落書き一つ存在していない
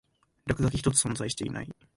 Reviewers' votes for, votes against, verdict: 2, 1, accepted